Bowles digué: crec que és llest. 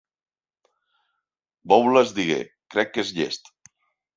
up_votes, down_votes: 3, 0